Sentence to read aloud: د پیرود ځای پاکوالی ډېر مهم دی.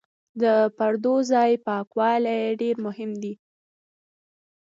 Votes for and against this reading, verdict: 0, 2, rejected